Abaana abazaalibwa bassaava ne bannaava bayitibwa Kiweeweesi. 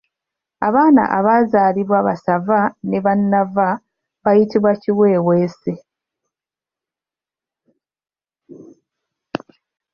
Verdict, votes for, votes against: rejected, 0, 2